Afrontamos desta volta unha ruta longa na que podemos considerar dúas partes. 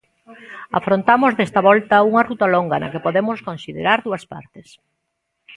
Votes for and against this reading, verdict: 2, 0, accepted